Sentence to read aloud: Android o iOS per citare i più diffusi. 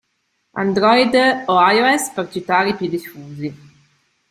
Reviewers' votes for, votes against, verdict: 2, 0, accepted